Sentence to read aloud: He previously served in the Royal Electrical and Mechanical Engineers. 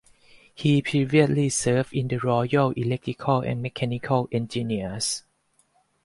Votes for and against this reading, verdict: 0, 4, rejected